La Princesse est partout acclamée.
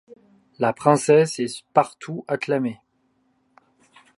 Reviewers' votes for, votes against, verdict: 2, 0, accepted